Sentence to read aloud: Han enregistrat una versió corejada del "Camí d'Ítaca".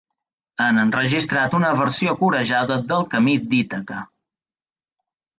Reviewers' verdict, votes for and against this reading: accepted, 2, 0